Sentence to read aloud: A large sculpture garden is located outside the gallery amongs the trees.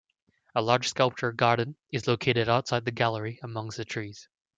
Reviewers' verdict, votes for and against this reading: accepted, 2, 0